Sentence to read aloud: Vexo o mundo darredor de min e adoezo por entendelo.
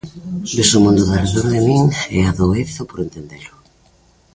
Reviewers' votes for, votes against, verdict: 2, 0, accepted